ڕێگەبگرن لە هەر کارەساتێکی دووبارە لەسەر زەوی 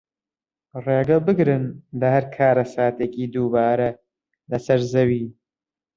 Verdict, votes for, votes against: accepted, 3, 0